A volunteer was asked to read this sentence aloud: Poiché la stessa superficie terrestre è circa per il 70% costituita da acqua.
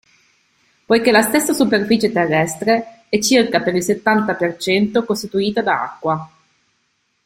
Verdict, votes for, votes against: rejected, 0, 2